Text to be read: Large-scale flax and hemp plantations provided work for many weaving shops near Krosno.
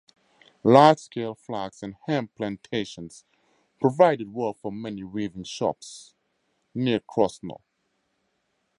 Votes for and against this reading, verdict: 2, 0, accepted